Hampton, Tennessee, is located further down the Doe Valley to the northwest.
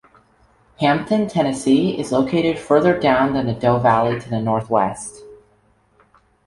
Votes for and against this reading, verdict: 1, 2, rejected